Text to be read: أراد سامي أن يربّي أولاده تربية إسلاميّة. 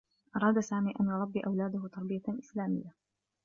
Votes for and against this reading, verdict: 2, 0, accepted